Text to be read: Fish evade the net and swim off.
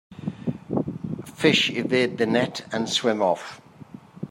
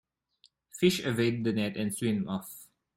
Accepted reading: first